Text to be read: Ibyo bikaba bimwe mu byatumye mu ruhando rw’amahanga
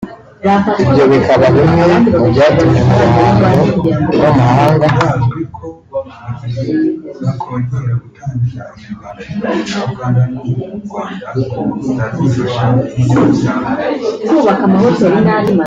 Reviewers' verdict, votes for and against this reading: rejected, 1, 2